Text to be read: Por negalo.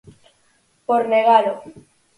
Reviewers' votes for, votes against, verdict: 4, 0, accepted